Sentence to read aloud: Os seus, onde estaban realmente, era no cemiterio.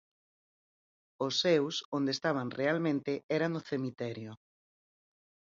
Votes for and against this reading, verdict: 4, 0, accepted